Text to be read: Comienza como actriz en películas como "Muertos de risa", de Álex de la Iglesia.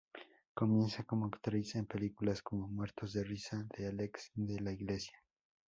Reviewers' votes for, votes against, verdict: 4, 0, accepted